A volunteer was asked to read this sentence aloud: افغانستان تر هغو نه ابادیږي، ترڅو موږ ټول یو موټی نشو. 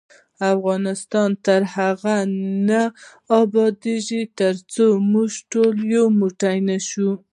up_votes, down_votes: 1, 2